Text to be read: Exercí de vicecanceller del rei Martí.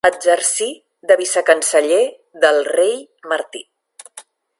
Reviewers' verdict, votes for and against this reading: rejected, 1, 2